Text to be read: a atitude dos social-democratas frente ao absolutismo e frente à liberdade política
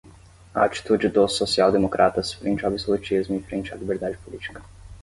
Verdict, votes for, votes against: accepted, 15, 10